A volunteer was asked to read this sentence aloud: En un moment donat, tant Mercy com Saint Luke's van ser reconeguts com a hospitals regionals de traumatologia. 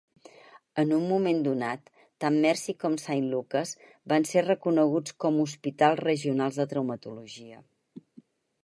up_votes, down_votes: 2, 4